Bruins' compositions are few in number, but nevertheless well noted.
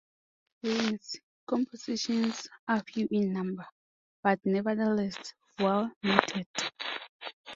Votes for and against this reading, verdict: 2, 0, accepted